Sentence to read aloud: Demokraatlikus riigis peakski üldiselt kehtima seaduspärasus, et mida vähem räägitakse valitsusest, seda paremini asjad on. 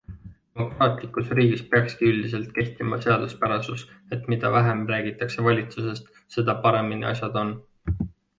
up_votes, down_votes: 3, 0